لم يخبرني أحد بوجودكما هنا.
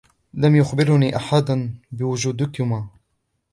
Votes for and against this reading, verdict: 1, 2, rejected